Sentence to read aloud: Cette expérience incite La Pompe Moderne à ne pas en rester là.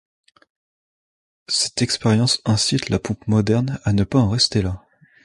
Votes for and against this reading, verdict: 2, 0, accepted